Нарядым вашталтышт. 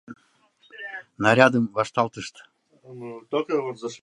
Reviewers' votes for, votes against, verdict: 1, 2, rejected